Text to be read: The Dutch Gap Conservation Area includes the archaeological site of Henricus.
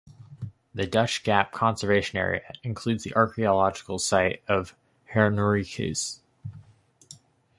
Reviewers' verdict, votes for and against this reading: rejected, 0, 2